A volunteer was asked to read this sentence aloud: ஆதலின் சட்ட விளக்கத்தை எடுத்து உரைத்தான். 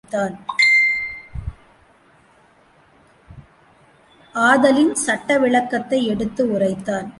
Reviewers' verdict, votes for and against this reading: rejected, 0, 2